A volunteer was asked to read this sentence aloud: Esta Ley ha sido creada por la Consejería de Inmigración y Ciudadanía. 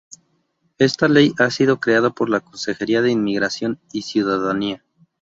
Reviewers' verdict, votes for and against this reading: accepted, 2, 0